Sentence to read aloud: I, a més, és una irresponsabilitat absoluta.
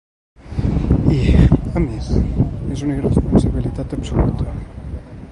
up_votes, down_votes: 1, 2